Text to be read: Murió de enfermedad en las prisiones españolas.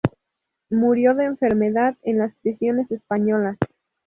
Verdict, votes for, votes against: accepted, 2, 0